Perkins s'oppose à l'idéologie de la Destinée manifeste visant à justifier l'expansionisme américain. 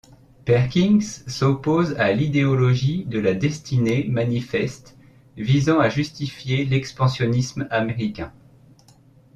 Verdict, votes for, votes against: accepted, 2, 0